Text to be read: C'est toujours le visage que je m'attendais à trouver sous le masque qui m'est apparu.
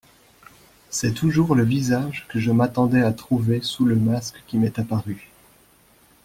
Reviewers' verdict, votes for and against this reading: accepted, 2, 0